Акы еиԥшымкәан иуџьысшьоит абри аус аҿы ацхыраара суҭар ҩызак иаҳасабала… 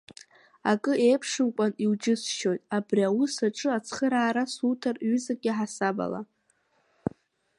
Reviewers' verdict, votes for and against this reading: accepted, 2, 0